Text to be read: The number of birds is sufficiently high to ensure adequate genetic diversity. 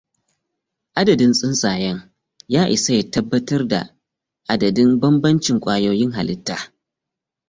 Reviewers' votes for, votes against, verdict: 0, 2, rejected